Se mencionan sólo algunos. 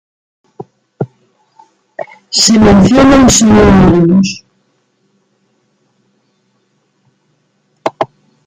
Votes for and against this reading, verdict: 1, 2, rejected